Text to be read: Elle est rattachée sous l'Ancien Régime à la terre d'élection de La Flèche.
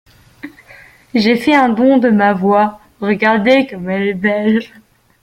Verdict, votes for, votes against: rejected, 0, 2